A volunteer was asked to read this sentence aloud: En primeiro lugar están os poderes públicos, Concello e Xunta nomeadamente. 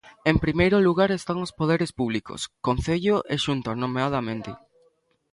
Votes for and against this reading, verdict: 2, 0, accepted